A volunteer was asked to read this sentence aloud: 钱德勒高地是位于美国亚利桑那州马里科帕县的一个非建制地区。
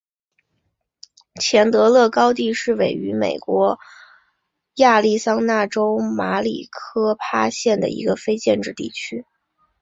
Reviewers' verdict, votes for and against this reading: accepted, 2, 0